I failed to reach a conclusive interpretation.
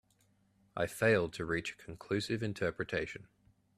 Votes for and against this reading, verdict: 2, 0, accepted